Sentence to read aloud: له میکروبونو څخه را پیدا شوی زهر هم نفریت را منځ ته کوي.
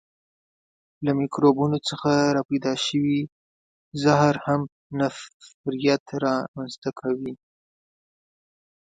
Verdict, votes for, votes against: accepted, 2, 0